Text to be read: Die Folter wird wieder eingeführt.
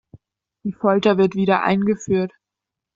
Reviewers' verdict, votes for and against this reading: accepted, 2, 0